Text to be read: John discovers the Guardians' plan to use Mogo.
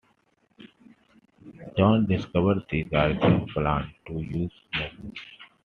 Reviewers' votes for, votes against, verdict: 1, 2, rejected